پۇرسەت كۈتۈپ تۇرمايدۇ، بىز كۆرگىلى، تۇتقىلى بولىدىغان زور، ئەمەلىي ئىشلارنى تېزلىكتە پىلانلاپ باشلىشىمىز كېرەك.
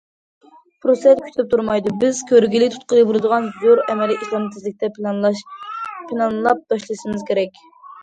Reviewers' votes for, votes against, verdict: 0, 2, rejected